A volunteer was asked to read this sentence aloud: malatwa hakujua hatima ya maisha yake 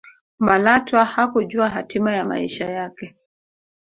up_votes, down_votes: 1, 2